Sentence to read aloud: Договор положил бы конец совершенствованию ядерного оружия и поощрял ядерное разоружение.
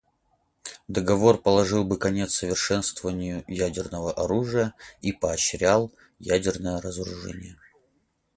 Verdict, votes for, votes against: accepted, 4, 0